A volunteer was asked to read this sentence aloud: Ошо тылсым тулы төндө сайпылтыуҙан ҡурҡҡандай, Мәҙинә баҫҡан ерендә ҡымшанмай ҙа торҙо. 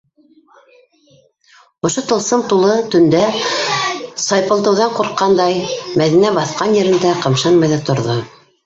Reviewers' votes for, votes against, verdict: 1, 2, rejected